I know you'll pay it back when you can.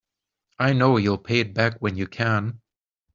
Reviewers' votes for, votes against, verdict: 3, 0, accepted